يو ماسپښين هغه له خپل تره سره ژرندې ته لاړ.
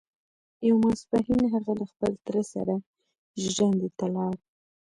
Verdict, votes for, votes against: accepted, 2, 0